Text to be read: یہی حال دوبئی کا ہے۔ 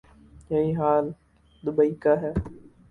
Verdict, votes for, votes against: rejected, 2, 2